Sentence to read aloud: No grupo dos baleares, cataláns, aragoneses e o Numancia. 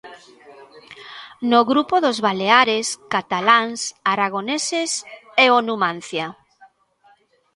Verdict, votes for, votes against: accepted, 3, 1